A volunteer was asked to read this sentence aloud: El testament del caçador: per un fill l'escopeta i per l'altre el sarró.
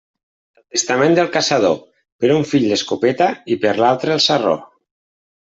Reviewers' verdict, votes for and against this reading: rejected, 0, 2